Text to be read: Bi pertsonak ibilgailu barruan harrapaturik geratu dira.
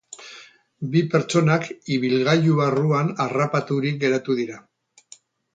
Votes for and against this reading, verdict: 0, 4, rejected